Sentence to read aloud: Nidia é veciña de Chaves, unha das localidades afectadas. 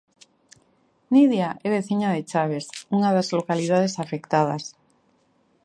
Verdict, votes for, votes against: accepted, 2, 0